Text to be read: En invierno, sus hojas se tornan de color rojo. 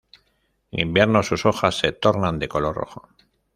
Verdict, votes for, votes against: rejected, 1, 2